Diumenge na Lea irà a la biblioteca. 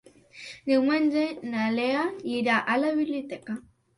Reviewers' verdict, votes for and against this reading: accepted, 3, 0